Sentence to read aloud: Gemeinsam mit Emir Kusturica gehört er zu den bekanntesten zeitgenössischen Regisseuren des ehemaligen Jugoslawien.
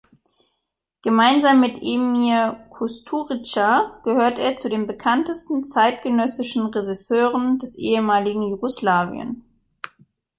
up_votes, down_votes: 1, 2